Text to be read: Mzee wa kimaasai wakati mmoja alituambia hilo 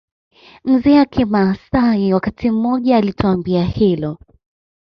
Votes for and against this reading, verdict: 1, 2, rejected